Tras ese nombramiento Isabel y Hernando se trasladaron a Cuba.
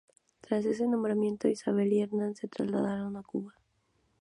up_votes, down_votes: 0, 2